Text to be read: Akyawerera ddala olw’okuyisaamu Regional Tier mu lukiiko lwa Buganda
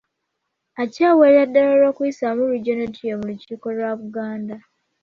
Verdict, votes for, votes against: accepted, 2, 0